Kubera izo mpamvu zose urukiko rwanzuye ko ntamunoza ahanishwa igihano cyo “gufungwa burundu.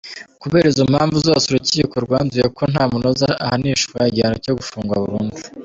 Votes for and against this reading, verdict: 2, 1, accepted